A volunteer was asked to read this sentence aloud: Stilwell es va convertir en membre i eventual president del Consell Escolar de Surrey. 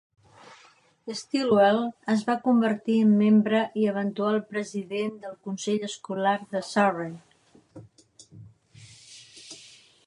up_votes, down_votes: 3, 0